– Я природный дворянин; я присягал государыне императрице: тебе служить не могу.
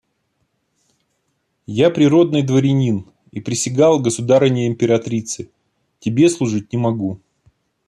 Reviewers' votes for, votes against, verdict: 1, 2, rejected